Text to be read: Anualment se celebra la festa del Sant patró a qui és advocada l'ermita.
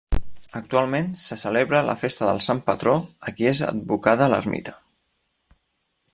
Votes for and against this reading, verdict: 1, 2, rejected